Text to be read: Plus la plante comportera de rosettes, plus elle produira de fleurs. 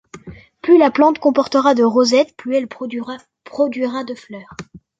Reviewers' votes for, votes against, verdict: 0, 2, rejected